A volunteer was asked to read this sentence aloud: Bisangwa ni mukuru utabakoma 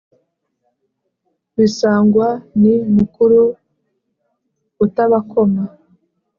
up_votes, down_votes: 3, 0